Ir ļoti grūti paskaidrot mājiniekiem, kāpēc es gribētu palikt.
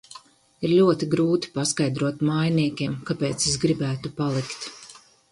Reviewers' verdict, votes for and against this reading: accepted, 4, 0